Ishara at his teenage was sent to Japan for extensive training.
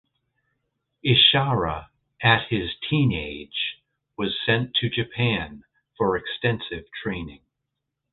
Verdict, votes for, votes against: accepted, 3, 0